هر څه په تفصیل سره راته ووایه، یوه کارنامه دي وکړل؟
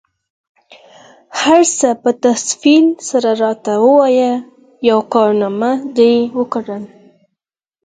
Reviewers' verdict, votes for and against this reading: accepted, 4, 0